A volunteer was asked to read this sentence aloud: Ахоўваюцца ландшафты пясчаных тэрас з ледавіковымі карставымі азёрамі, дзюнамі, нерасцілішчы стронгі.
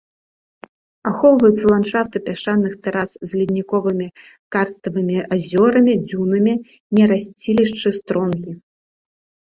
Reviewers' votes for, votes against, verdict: 0, 2, rejected